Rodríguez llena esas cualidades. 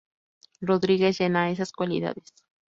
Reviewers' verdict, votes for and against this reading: accepted, 2, 0